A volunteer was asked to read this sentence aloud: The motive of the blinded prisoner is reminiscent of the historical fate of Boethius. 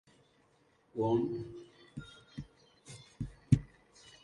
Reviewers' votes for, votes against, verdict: 0, 2, rejected